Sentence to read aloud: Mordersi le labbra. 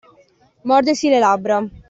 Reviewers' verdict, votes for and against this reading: accepted, 2, 0